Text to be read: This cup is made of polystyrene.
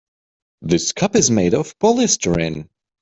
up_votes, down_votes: 2, 3